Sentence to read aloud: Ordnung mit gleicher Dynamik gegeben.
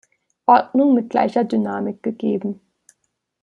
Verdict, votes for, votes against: accepted, 2, 0